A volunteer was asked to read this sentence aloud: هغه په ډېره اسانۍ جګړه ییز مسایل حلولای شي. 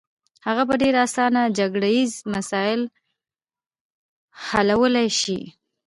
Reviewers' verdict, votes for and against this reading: rejected, 0, 2